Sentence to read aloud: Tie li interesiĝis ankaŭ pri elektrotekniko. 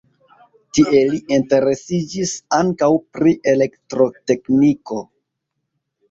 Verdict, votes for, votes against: rejected, 1, 2